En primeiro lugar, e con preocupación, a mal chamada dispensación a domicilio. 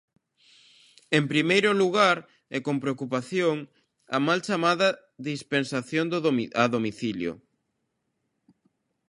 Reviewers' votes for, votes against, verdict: 0, 2, rejected